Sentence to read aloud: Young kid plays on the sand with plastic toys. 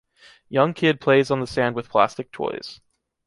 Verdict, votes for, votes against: accepted, 2, 0